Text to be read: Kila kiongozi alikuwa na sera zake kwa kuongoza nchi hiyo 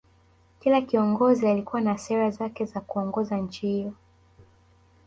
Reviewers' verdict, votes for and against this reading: accepted, 2, 0